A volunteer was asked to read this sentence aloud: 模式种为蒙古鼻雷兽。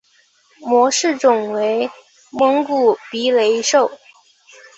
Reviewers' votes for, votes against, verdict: 2, 0, accepted